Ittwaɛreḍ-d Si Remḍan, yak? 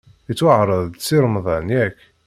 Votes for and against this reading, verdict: 2, 1, accepted